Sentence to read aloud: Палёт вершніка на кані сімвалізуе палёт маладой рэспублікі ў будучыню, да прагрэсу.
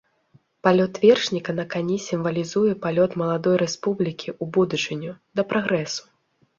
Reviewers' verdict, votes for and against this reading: accepted, 2, 0